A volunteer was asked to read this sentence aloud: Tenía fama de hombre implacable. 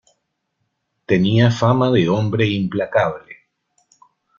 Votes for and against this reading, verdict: 2, 0, accepted